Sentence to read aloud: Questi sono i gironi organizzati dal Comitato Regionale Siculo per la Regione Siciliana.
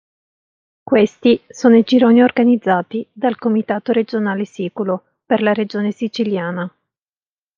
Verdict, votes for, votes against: accepted, 2, 0